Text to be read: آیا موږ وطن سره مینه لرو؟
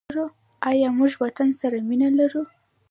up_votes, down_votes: 1, 2